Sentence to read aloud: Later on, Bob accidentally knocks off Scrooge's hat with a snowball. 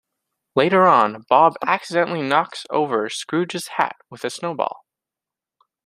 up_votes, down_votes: 1, 2